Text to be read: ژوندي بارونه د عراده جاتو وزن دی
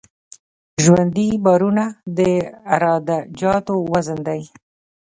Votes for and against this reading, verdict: 2, 1, accepted